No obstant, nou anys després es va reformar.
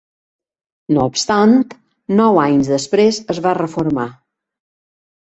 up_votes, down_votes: 1, 2